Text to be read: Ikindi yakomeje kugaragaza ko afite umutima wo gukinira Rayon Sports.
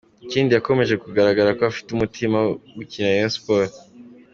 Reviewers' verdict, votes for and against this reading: accepted, 2, 1